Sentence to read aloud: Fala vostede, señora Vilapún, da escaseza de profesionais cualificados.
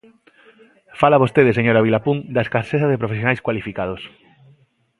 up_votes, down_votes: 2, 0